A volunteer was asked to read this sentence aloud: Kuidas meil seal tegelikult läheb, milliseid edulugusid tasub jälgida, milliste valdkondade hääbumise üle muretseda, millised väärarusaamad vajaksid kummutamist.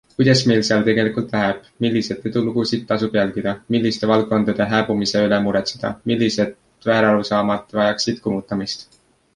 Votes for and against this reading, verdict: 2, 0, accepted